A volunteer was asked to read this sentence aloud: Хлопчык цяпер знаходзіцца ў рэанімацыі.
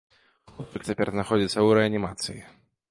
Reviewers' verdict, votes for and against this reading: accepted, 2, 0